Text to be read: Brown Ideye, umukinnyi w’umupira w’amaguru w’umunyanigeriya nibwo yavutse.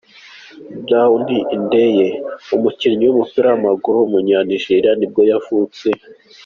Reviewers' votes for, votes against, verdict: 2, 0, accepted